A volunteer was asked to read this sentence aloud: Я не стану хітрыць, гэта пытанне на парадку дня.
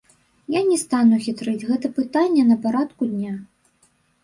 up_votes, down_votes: 1, 2